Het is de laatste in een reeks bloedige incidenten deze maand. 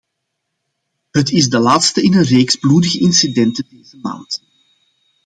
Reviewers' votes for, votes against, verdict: 2, 0, accepted